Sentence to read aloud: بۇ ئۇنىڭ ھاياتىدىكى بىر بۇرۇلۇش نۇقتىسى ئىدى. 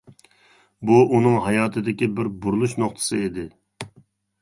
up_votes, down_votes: 2, 0